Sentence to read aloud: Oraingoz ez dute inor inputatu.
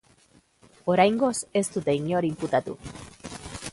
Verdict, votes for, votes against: accepted, 2, 0